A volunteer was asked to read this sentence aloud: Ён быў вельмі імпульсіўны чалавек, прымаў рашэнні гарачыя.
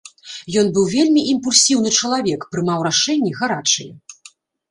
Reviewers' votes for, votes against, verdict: 2, 0, accepted